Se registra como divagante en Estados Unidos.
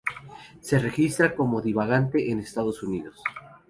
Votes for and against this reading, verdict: 2, 0, accepted